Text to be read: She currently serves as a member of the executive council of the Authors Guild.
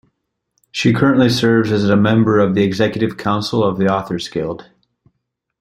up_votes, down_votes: 2, 0